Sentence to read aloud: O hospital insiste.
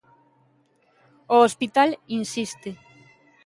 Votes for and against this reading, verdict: 4, 0, accepted